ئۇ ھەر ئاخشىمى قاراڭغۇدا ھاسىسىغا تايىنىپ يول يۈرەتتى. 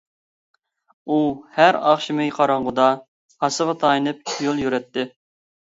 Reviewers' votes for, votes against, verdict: 0, 2, rejected